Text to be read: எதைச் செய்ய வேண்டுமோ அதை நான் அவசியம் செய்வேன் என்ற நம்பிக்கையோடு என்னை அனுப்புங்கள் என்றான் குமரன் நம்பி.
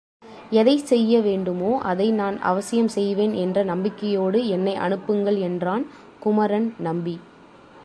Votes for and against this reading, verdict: 2, 0, accepted